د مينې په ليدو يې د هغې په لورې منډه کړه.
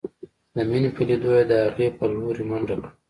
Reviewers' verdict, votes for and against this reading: accepted, 2, 0